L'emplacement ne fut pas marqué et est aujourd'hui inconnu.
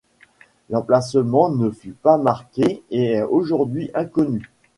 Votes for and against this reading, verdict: 2, 0, accepted